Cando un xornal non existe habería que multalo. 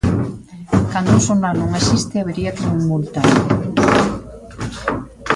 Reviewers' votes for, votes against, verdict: 1, 2, rejected